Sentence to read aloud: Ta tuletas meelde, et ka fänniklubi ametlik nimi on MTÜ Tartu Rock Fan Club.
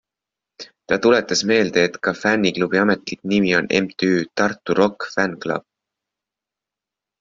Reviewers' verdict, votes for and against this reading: accepted, 3, 0